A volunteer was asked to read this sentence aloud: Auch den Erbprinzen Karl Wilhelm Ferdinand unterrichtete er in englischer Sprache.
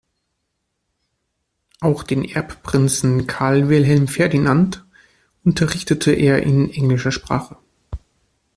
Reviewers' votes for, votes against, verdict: 2, 0, accepted